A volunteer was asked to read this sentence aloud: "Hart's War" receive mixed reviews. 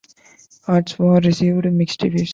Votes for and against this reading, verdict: 1, 2, rejected